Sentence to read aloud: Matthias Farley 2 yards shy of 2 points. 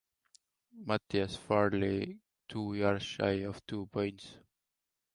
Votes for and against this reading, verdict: 0, 2, rejected